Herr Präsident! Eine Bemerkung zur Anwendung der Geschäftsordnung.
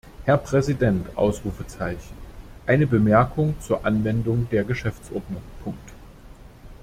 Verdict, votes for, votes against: rejected, 1, 2